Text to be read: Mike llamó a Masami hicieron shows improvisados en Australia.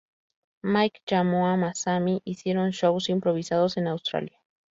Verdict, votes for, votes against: rejected, 2, 2